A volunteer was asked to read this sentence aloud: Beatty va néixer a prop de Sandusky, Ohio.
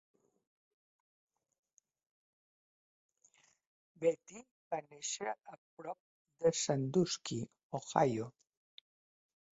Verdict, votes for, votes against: rejected, 0, 2